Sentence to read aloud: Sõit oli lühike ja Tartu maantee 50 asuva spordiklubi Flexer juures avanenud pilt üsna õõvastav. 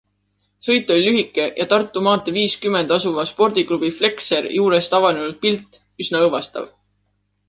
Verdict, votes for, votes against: rejected, 0, 2